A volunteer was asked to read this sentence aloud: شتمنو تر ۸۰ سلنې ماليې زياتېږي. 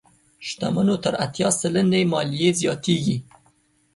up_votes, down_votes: 0, 2